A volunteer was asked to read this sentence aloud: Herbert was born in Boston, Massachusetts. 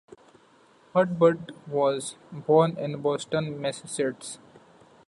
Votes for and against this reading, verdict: 0, 2, rejected